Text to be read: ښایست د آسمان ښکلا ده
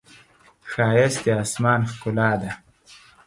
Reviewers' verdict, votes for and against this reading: accepted, 4, 0